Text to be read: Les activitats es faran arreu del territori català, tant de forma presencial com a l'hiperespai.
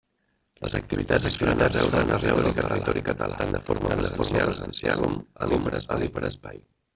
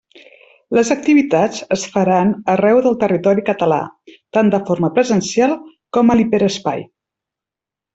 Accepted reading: second